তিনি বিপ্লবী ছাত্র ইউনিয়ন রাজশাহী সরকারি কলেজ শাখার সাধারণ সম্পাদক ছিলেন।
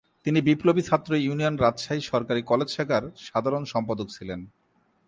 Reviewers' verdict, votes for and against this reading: rejected, 2, 2